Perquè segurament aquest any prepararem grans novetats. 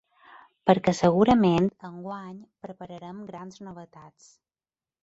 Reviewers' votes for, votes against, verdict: 0, 2, rejected